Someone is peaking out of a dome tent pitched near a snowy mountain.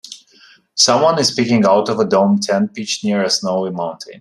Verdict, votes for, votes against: accepted, 2, 0